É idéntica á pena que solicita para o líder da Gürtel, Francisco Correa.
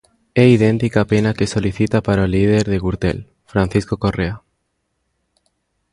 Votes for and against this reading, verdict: 2, 3, rejected